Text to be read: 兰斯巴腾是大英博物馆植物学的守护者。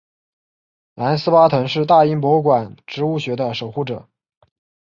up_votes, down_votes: 2, 0